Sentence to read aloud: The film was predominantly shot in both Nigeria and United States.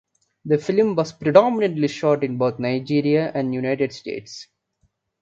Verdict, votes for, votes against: accepted, 2, 0